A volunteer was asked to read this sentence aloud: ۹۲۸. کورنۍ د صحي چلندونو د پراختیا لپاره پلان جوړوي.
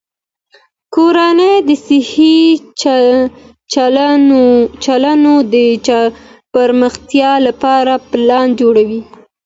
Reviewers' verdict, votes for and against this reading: rejected, 0, 2